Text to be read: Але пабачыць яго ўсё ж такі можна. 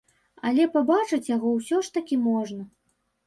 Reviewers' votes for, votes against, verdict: 2, 0, accepted